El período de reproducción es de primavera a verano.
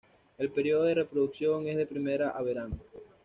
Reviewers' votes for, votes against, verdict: 1, 2, rejected